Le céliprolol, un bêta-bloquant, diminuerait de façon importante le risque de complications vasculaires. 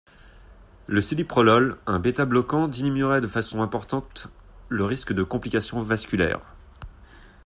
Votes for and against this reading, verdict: 2, 1, accepted